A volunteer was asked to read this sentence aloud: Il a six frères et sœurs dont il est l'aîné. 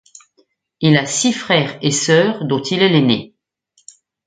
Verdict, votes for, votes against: accepted, 2, 0